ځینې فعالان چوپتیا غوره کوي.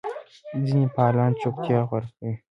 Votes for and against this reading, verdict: 2, 0, accepted